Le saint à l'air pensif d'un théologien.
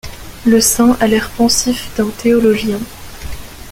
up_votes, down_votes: 1, 2